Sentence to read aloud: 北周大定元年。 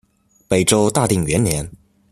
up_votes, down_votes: 2, 0